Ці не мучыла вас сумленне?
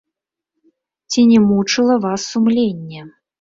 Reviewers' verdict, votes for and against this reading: rejected, 0, 2